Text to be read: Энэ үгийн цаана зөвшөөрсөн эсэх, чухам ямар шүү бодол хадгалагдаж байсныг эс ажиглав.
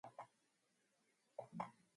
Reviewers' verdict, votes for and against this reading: rejected, 2, 2